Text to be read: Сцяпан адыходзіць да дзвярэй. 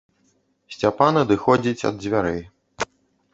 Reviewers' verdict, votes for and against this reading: rejected, 0, 2